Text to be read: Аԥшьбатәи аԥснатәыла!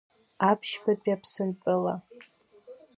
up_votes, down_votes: 1, 2